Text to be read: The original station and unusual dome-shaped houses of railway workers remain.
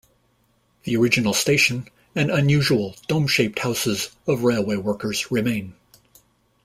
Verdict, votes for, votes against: accepted, 2, 0